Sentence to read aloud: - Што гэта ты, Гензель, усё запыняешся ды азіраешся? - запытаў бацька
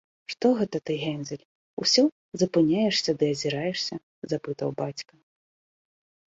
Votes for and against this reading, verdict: 2, 0, accepted